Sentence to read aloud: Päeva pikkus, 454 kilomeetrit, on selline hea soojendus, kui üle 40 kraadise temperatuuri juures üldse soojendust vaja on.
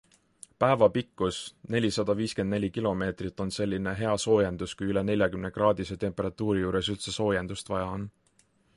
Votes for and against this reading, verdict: 0, 2, rejected